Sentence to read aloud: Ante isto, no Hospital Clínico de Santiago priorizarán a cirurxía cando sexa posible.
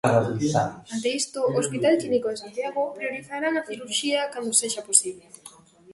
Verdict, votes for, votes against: rejected, 0, 2